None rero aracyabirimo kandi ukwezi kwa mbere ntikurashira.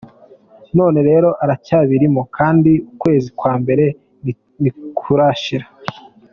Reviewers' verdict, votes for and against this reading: accepted, 2, 0